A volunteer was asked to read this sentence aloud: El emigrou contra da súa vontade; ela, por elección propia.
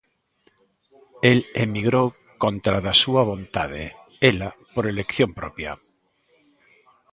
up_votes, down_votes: 2, 0